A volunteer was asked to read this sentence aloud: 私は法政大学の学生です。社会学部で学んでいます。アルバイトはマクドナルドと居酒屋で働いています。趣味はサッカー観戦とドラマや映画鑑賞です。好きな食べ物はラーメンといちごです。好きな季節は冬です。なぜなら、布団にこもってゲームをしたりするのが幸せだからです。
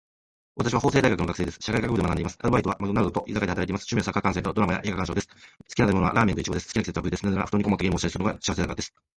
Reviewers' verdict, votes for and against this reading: rejected, 1, 2